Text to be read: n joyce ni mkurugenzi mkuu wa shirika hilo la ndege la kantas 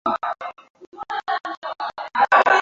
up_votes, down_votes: 0, 2